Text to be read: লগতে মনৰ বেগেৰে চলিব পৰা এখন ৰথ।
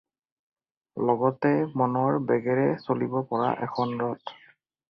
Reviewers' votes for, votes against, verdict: 4, 0, accepted